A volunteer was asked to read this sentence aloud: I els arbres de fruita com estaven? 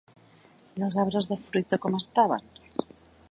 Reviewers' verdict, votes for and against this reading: accepted, 2, 0